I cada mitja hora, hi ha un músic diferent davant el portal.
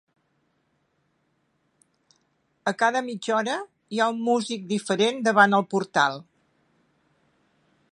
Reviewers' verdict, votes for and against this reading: rejected, 0, 2